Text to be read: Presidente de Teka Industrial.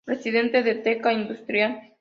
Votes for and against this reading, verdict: 2, 0, accepted